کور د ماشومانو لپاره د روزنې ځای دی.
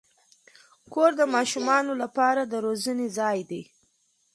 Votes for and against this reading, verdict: 2, 0, accepted